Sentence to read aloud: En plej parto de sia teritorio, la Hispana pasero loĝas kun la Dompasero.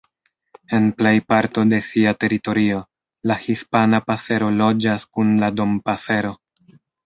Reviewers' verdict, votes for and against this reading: rejected, 1, 2